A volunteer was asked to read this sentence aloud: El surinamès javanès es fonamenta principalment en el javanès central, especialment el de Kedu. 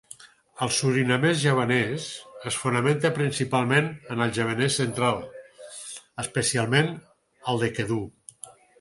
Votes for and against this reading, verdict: 4, 0, accepted